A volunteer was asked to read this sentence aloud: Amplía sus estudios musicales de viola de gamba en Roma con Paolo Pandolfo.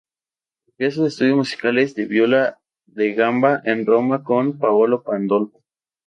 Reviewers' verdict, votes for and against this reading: rejected, 0, 2